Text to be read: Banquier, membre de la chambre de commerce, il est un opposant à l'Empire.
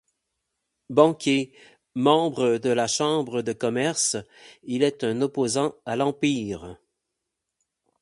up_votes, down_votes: 8, 0